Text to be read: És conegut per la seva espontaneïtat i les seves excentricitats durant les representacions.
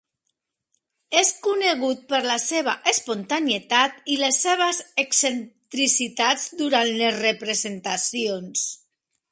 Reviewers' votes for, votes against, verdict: 1, 2, rejected